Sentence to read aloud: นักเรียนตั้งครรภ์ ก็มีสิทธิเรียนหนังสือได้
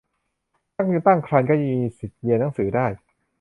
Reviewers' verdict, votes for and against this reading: rejected, 0, 2